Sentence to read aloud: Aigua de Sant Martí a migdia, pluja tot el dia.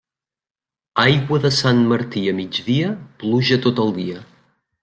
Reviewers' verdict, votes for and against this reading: accepted, 3, 0